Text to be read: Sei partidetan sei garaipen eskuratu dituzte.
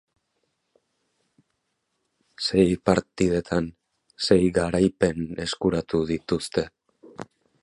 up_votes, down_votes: 2, 0